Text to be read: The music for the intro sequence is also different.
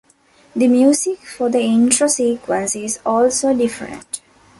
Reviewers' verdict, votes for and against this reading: accepted, 2, 0